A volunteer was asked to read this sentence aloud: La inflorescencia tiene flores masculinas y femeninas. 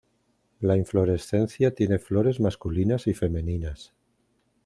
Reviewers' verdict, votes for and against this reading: accepted, 2, 0